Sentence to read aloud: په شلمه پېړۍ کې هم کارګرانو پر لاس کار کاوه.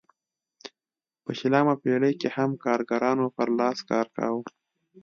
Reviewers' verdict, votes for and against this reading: accepted, 2, 1